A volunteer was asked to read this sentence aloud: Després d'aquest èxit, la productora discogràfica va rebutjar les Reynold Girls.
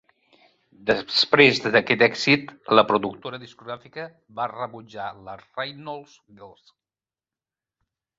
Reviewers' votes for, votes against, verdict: 1, 2, rejected